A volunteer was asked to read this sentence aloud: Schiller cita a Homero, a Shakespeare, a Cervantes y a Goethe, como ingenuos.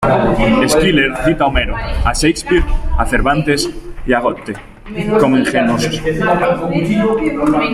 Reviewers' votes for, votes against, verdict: 2, 0, accepted